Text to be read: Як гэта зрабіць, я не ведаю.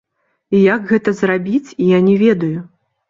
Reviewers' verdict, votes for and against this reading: accepted, 3, 1